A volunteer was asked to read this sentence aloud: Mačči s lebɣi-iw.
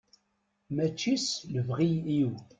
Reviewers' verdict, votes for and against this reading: rejected, 0, 2